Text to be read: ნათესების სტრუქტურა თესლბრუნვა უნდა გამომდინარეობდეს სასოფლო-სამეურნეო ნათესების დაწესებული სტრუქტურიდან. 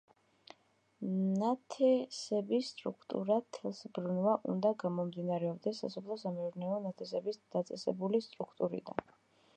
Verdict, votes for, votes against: rejected, 1, 2